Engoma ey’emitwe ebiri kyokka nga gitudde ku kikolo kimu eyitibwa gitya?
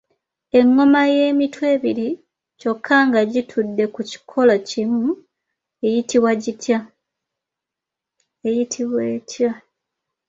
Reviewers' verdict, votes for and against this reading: rejected, 0, 2